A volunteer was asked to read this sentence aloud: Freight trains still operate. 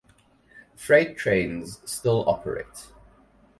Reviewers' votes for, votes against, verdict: 4, 0, accepted